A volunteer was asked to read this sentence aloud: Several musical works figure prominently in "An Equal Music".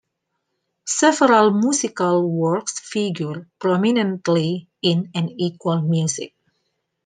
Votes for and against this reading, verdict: 2, 0, accepted